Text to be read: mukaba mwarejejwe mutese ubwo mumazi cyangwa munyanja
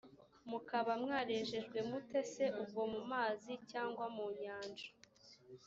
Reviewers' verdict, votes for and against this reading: accepted, 2, 0